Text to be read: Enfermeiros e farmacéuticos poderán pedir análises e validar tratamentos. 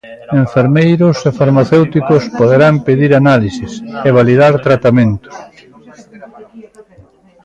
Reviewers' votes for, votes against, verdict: 2, 0, accepted